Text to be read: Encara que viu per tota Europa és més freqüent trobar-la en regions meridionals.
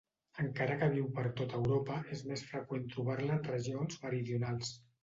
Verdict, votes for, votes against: accepted, 2, 0